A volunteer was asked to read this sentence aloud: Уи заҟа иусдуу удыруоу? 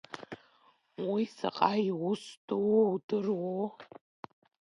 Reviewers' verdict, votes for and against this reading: rejected, 0, 2